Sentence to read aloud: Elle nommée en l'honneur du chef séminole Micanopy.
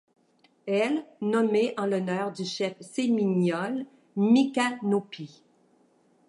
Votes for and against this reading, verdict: 0, 2, rejected